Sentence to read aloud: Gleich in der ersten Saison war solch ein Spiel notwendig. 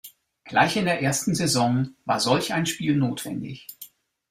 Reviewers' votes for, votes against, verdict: 2, 0, accepted